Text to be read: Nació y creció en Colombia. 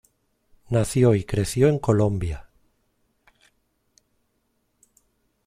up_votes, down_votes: 2, 0